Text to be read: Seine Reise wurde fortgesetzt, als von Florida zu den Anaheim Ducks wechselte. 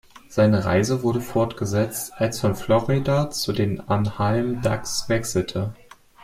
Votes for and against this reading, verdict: 0, 2, rejected